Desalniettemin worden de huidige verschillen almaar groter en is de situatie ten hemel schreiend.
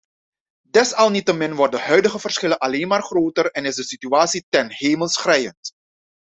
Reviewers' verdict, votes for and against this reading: rejected, 1, 2